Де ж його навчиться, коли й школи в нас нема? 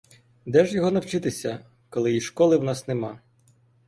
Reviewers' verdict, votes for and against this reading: rejected, 2, 3